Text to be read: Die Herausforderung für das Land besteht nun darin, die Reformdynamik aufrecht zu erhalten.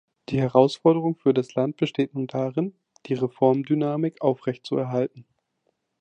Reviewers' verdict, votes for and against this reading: accepted, 2, 0